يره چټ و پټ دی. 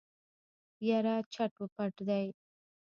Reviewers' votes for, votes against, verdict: 1, 2, rejected